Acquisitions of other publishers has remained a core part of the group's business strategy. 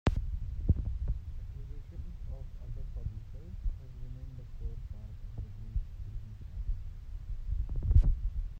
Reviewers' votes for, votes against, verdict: 0, 2, rejected